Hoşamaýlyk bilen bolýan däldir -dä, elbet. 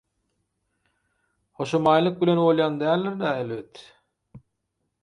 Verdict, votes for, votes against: accepted, 4, 0